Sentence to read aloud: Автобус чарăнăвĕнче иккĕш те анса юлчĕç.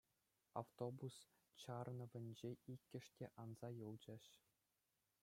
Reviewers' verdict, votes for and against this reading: accepted, 3, 0